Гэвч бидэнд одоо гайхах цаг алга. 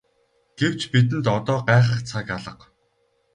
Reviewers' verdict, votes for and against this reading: rejected, 2, 2